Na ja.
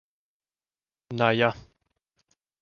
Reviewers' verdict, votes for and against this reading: accepted, 2, 0